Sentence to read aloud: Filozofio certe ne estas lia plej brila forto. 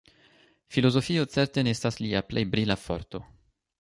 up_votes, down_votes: 2, 0